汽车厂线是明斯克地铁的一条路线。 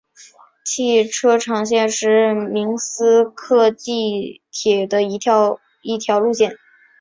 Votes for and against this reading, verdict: 0, 3, rejected